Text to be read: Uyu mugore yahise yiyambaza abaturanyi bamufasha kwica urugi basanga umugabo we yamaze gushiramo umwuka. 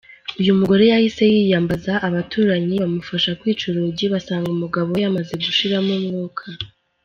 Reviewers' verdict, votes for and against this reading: accepted, 2, 0